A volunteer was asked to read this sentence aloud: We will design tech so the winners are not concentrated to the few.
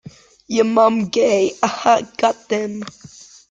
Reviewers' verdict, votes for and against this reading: rejected, 0, 2